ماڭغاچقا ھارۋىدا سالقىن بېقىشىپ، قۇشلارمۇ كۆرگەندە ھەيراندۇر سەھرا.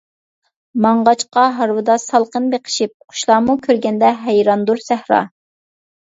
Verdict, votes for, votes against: accepted, 2, 0